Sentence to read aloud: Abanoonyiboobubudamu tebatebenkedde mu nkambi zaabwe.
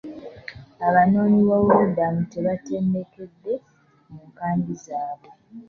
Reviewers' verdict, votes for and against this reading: rejected, 0, 2